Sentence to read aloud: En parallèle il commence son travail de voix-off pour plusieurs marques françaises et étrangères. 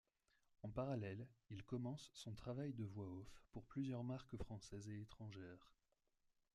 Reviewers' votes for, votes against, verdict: 2, 0, accepted